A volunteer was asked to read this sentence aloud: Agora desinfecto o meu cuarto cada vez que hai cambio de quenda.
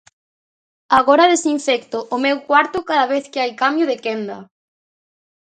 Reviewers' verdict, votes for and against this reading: accepted, 2, 0